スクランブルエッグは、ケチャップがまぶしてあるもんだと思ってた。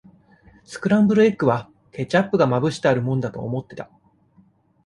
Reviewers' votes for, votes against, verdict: 2, 0, accepted